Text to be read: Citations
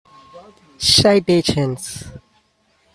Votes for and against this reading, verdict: 2, 0, accepted